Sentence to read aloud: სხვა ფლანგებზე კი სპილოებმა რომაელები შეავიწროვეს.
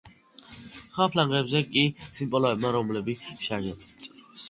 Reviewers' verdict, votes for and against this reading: rejected, 0, 2